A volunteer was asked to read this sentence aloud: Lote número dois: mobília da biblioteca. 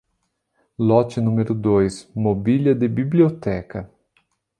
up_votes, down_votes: 0, 2